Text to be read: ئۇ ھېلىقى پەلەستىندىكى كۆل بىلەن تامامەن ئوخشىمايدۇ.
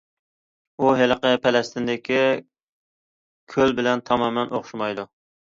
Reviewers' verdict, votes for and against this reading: accepted, 2, 0